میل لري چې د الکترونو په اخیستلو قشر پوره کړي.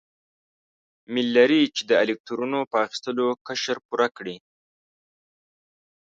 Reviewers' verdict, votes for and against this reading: rejected, 1, 2